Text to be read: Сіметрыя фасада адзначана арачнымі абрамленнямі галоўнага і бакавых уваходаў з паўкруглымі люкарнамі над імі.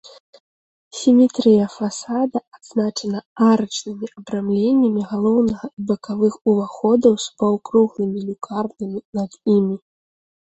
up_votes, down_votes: 2, 0